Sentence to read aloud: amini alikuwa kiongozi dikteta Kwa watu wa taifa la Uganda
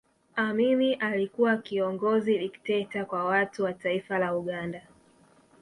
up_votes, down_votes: 2, 0